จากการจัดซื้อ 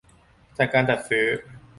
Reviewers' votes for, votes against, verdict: 2, 0, accepted